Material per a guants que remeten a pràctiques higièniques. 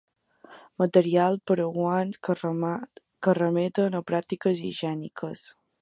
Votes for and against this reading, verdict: 2, 0, accepted